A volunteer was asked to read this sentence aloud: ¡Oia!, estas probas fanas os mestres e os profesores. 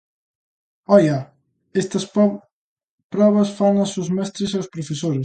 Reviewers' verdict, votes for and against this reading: rejected, 0, 2